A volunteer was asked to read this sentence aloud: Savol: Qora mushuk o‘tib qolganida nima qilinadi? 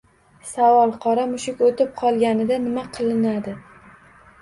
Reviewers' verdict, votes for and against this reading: accepted, 2, 0